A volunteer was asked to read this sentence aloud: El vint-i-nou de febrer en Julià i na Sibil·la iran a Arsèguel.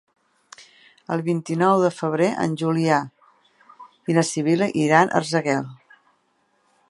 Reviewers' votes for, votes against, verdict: 1, 2, rejected